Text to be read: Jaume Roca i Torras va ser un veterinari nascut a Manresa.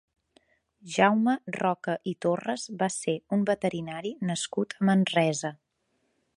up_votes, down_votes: 2, 3